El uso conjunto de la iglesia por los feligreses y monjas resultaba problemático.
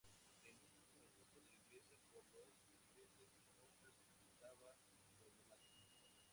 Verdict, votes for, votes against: rejected, 0, 2